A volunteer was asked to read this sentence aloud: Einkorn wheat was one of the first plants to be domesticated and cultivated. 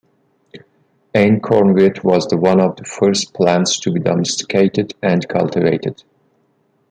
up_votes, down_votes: 2, 0